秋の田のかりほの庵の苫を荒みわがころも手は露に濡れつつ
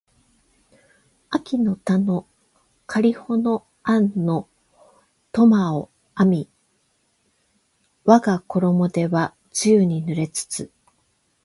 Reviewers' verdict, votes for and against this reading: accepted, 8, 4